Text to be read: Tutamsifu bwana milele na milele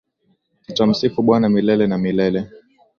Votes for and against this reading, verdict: 2, 0, accepted